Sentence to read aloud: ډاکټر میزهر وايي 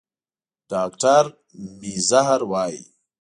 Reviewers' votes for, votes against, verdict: 2, 0, accepted